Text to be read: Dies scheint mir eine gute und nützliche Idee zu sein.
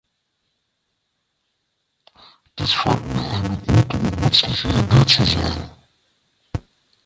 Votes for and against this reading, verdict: 1, 2, rejected